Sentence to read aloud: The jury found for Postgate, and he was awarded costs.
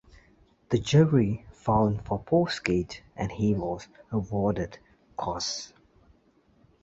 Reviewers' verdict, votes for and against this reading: accepted, 2, 1